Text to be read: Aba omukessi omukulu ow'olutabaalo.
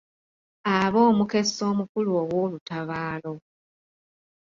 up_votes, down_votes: 0, 2